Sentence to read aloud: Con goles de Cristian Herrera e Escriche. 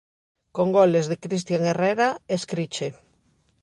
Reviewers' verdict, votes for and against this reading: accepted, 2, 0